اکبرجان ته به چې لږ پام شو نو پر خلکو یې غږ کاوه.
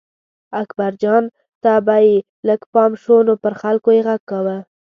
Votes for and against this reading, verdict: 0, 2, rejected